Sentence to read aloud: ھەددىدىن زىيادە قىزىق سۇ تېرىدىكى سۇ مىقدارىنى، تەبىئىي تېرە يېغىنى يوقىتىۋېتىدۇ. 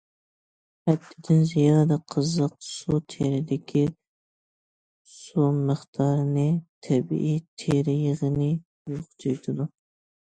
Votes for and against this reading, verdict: 1, 2, rejected